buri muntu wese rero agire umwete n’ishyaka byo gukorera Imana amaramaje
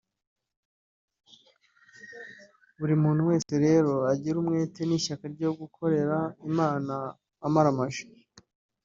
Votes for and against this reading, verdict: 1, 2, rejected